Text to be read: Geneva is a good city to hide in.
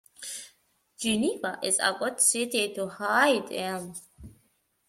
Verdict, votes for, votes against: accepted, 2, 1